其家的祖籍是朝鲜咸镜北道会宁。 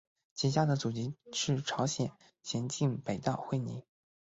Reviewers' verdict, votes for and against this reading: rejected, 0, 2